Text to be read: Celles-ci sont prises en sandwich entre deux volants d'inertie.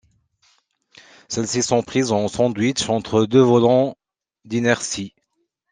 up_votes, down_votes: 2, 0